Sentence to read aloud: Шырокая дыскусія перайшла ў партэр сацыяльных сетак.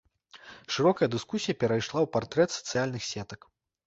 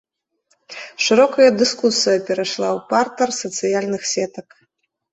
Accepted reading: second